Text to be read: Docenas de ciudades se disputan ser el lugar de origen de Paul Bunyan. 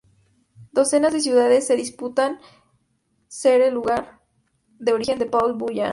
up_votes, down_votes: 0, 2